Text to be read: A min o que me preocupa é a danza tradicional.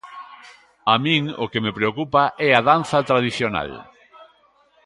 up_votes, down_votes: 2, 0